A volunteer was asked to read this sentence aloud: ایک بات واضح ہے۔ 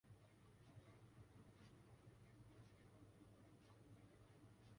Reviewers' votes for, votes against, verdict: 0, 2, rejected